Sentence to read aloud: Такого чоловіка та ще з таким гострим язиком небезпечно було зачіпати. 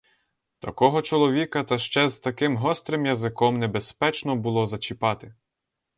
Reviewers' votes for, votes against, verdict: 0, 2, rejected